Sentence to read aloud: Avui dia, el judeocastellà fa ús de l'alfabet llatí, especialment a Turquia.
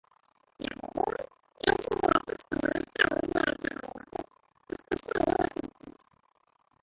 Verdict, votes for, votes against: rejected, 0, 4